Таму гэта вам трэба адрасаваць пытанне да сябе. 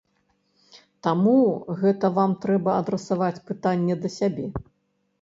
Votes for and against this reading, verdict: 2, 0, accepted